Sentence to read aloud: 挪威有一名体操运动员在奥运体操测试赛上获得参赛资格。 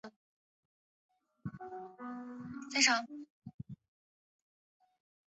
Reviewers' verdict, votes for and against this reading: rejected, 5, 5